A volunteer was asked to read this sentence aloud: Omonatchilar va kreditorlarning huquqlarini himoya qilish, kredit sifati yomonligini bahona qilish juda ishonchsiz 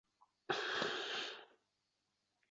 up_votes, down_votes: 0, 2